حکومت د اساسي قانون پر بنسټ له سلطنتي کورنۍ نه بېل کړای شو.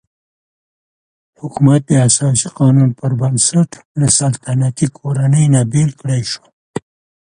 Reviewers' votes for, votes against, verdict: 2, 0, accepted